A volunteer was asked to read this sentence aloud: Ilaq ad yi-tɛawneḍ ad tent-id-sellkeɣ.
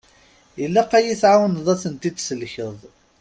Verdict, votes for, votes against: accepted, 2, 0